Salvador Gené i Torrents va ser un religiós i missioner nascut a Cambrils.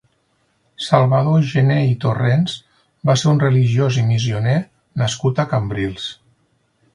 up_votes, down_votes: 6, 0